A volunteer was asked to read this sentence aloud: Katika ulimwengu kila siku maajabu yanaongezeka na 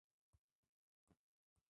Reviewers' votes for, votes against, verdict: 0, 2, rejected